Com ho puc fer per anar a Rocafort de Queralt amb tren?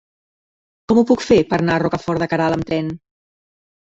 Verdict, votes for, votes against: rejected, 0, 2